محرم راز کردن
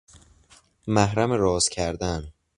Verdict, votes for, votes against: accepted, 2, 0